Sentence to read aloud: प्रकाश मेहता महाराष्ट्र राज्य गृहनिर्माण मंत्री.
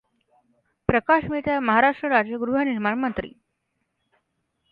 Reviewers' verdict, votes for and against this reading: accepted, 2, 0